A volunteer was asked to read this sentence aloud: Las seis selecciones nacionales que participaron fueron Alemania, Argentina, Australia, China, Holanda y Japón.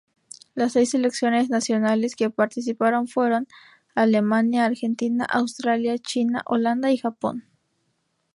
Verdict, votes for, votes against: accepted, 2, 0